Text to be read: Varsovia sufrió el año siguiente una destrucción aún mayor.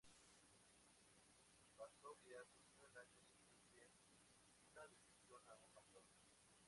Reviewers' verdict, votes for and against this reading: rejected, 0, 2